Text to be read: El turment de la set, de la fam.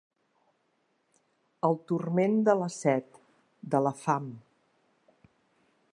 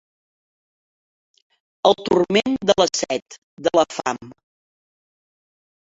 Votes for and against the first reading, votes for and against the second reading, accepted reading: 3, 0, 0, 2, first